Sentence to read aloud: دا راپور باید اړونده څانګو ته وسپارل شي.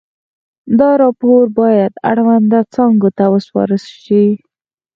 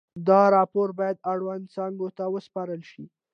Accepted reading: second